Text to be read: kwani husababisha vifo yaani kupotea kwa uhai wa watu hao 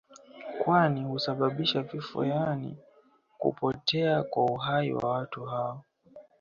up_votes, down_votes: 1, 2